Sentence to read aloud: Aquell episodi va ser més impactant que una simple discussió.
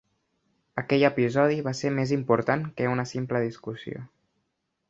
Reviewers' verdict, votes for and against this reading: rejected, 0, 3